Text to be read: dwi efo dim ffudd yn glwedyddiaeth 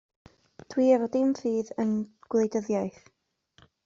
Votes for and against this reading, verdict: 2, 0, accepted